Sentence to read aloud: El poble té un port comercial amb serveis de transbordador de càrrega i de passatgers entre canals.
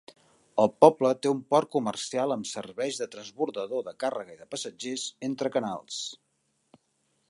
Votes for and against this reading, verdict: 3, 0, accepted